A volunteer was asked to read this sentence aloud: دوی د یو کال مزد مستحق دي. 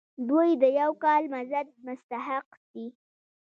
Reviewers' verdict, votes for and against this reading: accepted, 2, 0